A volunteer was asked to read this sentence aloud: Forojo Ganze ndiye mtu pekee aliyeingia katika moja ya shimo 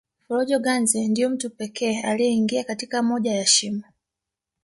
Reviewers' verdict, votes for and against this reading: accepted, 3, 2